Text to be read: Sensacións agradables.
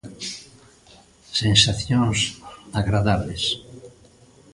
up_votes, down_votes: 0, 2